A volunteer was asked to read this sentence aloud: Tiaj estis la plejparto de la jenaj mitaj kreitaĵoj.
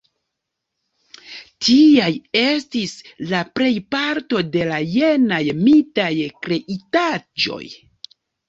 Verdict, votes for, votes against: rejected, 1, 2